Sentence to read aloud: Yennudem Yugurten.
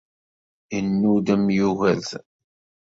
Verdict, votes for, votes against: accepted, 2, 0